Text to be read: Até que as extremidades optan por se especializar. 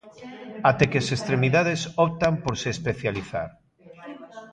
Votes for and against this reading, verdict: 2, 1, accepted